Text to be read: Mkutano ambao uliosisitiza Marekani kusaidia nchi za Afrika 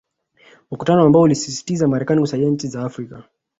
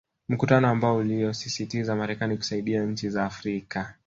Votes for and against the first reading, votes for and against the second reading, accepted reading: 4, 1, 1, 2, first